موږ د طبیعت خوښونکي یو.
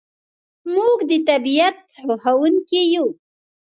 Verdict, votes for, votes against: accepted, 2, 0